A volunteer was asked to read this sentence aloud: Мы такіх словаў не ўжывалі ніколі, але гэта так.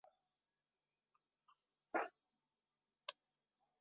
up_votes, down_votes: 0, 2